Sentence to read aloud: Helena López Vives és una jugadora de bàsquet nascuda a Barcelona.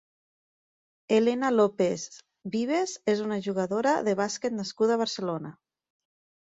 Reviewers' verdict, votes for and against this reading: accepted, 2, 0